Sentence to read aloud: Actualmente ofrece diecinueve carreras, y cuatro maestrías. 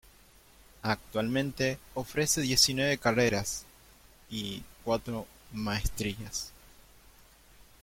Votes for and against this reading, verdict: 2, 1, accepted